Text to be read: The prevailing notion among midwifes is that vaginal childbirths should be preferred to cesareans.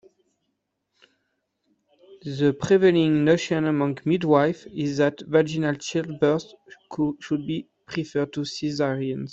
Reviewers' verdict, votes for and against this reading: rejected, 1, 2